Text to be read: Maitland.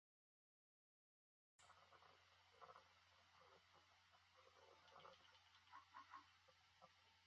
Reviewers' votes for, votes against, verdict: 1, 2, rejected